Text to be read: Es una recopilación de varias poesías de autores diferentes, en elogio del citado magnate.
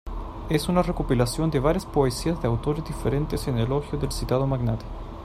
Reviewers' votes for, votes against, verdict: 2, 1, accepted